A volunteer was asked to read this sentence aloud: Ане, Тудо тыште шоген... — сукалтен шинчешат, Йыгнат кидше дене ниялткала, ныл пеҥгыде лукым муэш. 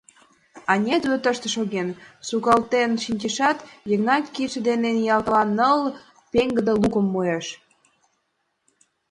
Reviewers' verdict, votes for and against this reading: accepted, 2, 0